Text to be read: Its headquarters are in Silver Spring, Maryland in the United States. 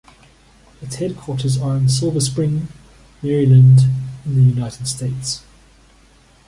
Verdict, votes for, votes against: accepted, 2, 0